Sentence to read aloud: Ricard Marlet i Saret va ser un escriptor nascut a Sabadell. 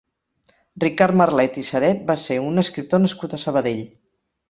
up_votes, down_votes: 6, 0